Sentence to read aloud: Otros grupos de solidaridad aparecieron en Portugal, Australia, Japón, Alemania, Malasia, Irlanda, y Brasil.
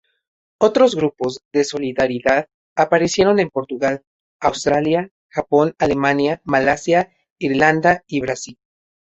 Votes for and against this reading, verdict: 2, 0, accepted